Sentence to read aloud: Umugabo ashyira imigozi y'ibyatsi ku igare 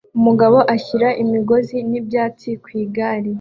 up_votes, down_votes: 2, 0